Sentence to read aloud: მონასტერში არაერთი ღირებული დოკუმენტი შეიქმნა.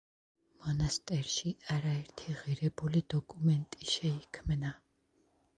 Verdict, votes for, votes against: accepted, 2, 0